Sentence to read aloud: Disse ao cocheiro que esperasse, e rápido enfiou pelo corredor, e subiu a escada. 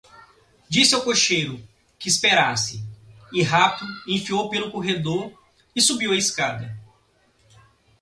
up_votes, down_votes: 2, 0